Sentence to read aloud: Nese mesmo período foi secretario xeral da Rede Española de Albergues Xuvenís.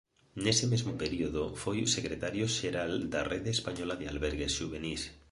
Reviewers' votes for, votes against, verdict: 2, 0, accepted